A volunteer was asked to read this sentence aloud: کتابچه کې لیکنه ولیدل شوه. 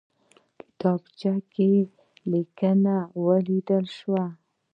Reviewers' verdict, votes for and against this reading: rejected, 1, 2